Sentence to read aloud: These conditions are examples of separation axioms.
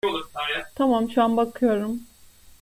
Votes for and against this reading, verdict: 0, 2, rejected